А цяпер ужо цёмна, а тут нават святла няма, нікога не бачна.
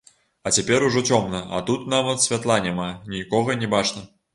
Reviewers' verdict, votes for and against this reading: accepted, 2, 0